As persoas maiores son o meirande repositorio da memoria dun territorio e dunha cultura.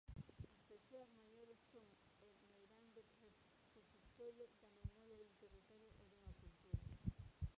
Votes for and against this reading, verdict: 0, 2, rejected